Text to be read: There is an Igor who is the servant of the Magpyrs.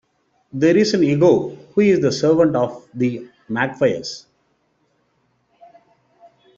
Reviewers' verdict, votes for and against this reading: rejected, 0, 2